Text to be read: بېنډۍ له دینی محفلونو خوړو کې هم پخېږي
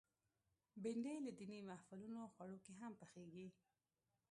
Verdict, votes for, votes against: rejected, 1, 2